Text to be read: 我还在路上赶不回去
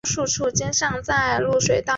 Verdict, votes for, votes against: rejected, 0, 3